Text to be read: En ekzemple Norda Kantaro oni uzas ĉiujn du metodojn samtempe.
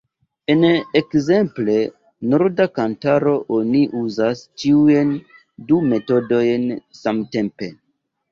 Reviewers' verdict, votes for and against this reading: rejected, 1, 2